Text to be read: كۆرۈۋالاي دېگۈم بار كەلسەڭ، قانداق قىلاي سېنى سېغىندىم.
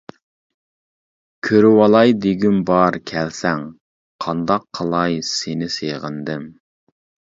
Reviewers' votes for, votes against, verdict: 2, 0, accepted